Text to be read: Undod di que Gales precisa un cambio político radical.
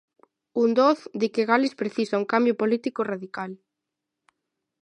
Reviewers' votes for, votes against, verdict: 3, 0, accepted